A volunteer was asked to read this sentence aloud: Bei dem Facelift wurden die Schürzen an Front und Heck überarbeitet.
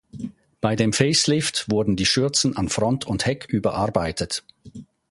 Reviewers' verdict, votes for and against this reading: accepted, 2, 0